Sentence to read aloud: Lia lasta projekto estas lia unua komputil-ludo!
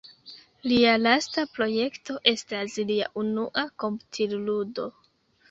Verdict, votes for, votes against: accepted, 2, 0